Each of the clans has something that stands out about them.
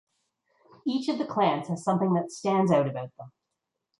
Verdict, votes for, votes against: accepted, 2, 0